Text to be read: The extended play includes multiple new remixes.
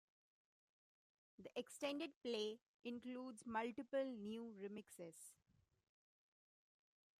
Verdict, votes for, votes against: rejected, 1, 2